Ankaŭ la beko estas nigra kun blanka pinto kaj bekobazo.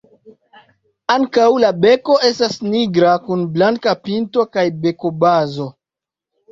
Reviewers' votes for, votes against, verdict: 2, 1, accepted